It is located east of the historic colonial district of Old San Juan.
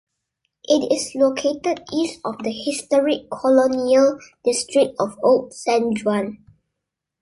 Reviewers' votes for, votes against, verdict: 0, 2, rejected